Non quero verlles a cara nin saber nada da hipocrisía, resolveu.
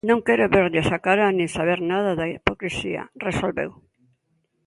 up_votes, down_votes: 2, 1